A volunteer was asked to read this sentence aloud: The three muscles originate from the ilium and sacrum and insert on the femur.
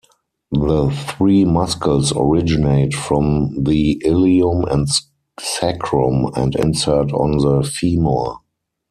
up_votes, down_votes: 0, 4